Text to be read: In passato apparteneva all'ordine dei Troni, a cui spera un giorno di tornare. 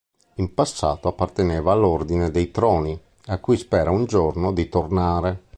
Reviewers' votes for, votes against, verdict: 3, 0, accepted